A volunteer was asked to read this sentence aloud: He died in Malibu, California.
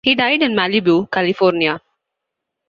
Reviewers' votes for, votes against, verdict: 2, 0, accepted